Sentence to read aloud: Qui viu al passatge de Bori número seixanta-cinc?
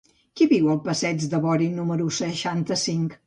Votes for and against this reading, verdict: 0, 2, rejected